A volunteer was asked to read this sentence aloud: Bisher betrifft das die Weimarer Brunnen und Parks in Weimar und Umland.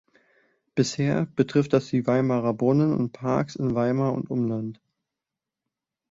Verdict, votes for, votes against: accepted, 3, 0